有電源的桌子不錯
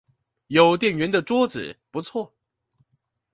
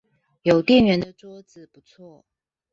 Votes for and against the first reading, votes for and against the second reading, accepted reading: 2, 0, 0, 2, first